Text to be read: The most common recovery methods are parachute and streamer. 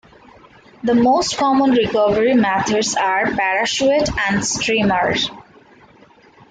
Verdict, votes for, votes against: accepted, 2, 1